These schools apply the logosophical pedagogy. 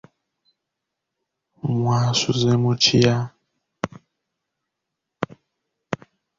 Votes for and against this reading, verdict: 0, 2, rejected